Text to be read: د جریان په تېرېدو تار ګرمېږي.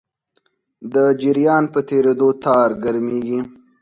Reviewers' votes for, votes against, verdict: 4, 0, accepted